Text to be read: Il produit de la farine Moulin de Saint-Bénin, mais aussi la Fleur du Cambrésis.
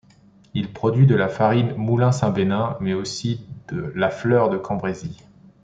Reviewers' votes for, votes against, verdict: 1, 2, rejected